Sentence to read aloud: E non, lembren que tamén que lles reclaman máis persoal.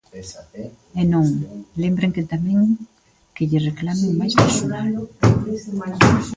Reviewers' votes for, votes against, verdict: 0, 2, rejected